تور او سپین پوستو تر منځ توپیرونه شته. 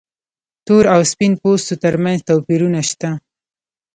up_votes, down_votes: 1, 2